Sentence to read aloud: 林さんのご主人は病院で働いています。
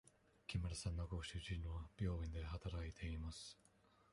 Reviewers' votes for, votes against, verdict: 1, 2, rejected